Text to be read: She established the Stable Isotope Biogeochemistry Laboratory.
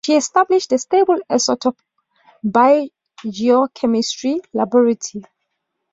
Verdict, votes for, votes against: rejected, 0, 2